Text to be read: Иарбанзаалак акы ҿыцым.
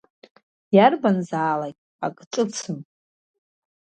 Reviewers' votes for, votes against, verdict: 2, 0, accepted